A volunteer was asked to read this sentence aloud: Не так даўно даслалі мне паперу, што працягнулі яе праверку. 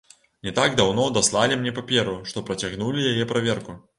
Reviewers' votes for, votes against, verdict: 3, 0, accepted